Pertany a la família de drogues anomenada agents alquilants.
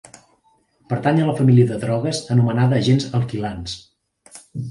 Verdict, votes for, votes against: accepted, 3, 1